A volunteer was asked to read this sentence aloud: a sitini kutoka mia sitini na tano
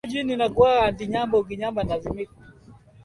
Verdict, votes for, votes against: rejected, 0, 3